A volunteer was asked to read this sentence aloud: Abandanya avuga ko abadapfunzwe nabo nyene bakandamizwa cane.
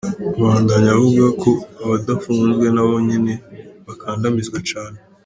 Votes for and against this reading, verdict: 2, 0, accepted